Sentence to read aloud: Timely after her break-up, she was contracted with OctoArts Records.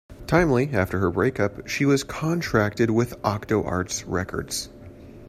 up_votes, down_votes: 2, 1